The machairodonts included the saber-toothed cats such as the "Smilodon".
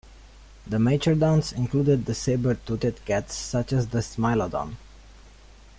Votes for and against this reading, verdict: 2, 0, accepted